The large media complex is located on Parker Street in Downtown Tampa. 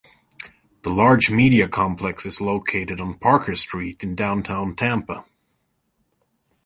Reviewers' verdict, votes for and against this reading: accepted, 2, 0